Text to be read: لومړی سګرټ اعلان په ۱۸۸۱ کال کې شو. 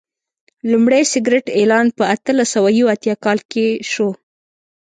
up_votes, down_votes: 0, 2